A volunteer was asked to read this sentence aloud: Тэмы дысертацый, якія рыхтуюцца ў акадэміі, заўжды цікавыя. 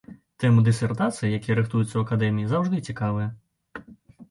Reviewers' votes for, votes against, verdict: 2, 0, accepted